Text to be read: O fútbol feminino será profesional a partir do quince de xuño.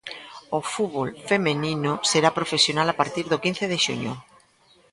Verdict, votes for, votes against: rejected, 1, 2